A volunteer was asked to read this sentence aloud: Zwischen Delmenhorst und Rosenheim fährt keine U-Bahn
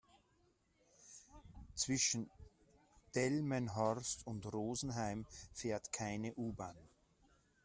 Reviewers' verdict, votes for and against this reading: rejected, 1, 2